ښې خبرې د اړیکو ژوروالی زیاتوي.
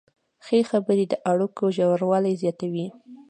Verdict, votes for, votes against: rejected, 1, 2